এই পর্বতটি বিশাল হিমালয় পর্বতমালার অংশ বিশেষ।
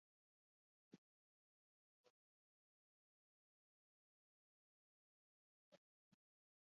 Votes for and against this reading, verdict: 0, 2, rejected